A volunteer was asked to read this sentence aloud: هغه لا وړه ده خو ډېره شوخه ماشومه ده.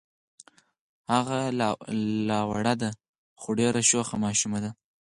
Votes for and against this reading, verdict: 2, 4, rejected